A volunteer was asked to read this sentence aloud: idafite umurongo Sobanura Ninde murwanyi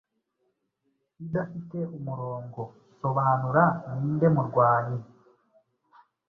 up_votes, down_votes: 2, 0